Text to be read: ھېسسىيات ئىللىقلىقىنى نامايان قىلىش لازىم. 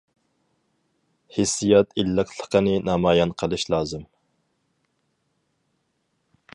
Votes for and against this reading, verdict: 4, 0, accepted